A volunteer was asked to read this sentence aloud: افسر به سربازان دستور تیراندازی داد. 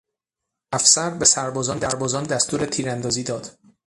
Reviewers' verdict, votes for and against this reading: rejected, 3, 3